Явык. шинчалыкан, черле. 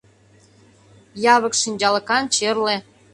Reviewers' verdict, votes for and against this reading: accepted, 2, 0